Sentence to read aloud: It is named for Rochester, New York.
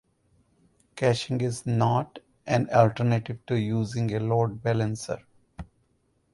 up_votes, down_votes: 0, 2